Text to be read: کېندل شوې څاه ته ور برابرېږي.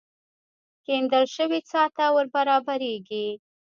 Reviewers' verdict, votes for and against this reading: rejected, 1, 2